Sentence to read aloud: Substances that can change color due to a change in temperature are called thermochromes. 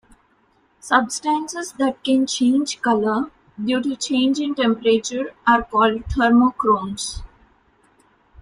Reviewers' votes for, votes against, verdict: 0, 2, rejected